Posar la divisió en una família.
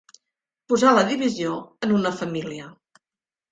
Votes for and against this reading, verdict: 3, 0, accepted